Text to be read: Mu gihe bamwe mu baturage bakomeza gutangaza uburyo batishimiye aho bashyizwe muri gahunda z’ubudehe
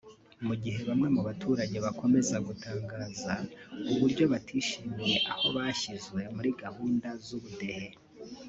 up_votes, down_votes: 3, 0